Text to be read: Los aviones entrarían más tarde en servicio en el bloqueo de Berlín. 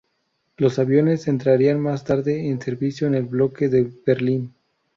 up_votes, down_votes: 0, 2